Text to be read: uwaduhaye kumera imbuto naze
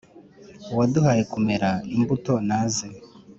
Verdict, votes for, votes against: accepted, 3, 0